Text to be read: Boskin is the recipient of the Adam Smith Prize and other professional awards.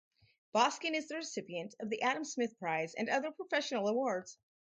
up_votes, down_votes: 2, 2